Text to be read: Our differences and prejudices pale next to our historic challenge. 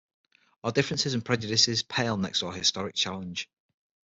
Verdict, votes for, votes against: accepted, 6, 0